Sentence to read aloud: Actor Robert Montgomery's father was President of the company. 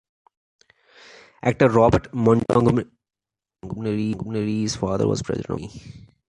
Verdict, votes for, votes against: rejected, 0, 2